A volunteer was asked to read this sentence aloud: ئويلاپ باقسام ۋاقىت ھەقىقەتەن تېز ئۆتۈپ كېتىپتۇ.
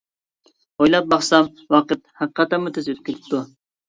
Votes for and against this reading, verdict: 1, 2, rejected